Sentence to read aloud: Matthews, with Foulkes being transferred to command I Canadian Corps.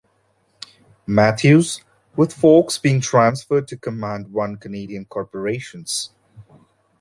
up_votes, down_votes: 1, 2